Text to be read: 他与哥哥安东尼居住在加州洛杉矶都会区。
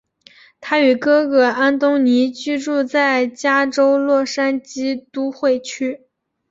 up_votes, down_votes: 2, 0